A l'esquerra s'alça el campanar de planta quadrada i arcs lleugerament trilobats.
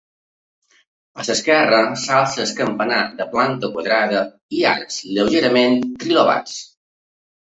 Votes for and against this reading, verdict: 1, 2, rejected